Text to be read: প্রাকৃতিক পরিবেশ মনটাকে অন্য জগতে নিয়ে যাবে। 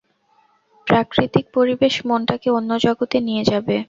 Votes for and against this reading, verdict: 4, 0, accepted